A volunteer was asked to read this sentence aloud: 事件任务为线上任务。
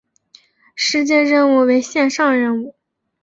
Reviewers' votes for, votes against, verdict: 2, 0, accepted